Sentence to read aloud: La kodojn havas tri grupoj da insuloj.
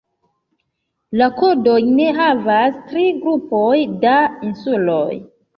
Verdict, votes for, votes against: accepted, 2, 1